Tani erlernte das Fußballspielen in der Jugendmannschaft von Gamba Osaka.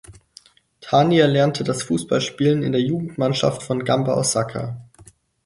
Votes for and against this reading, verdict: 4, 0, accepted